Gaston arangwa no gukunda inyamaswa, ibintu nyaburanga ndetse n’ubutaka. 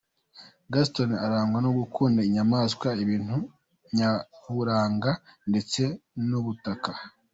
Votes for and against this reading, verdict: 2, 1, accepted